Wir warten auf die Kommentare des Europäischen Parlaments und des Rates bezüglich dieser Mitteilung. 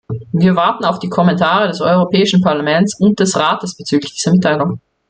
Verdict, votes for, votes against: accepted, 2, 0